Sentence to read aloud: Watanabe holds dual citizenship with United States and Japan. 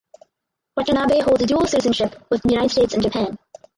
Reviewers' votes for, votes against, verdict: 0, 2, rejected